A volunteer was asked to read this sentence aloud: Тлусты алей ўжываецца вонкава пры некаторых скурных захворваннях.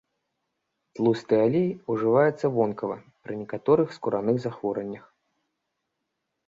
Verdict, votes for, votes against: rejected, 0, 2